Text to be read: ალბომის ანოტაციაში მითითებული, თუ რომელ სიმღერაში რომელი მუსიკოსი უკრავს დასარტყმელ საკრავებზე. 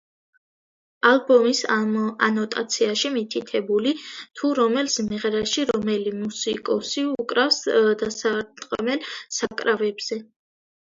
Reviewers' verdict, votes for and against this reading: rejected, 0, 2